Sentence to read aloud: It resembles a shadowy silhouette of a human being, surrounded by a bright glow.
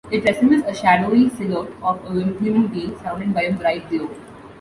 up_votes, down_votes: 0, 2